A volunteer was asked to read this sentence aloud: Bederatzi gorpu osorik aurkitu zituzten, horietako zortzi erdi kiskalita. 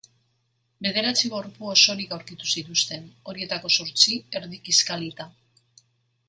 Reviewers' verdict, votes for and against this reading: accepted, 2, 0